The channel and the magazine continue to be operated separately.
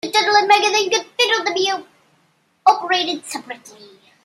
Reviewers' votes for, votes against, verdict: 0, 2, rejected